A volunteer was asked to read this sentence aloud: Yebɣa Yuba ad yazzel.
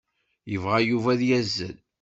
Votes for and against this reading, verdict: 2, 0, accepted